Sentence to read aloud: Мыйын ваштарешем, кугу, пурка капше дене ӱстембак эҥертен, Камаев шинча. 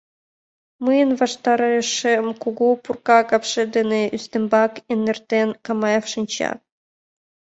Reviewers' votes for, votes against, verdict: 2, 0, accepted